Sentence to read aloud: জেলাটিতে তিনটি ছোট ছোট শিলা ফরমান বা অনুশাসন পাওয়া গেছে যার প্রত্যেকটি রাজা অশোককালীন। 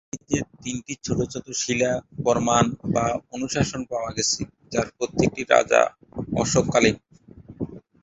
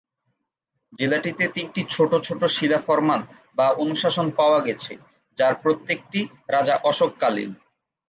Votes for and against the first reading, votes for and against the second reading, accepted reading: 1, 2, 2, 0, second